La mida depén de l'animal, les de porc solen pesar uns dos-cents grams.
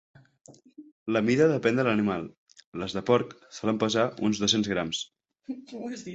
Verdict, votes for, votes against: accepted, 2, 0